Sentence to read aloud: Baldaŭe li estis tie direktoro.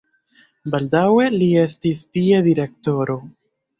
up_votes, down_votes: 2, 0